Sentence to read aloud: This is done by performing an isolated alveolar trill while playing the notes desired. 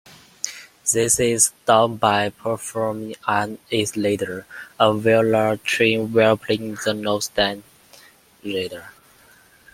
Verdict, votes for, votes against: rejected, 0, 2